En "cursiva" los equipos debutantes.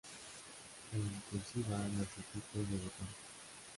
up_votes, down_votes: 0, 2